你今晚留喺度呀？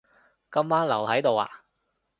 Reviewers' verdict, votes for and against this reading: rejected, 1, 2